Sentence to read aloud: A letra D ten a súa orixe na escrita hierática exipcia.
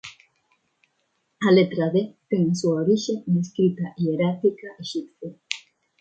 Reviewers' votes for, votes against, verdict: 0, 2, rejected